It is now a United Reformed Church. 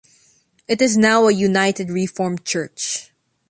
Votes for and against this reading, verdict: 2, 0, accepted